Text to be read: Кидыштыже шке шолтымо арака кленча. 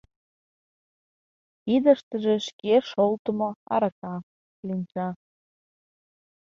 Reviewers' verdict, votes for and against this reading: accepted, 2, 0